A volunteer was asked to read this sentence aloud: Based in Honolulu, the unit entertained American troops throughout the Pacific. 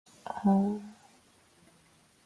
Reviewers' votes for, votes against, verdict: 0, 2, rejected